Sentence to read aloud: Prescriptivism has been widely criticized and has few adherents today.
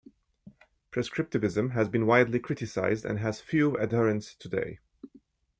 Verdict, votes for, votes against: rejected, 1, 2